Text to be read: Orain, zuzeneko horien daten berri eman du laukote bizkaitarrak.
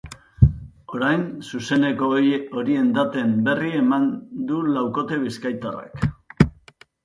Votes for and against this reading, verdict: 2, 3, rejected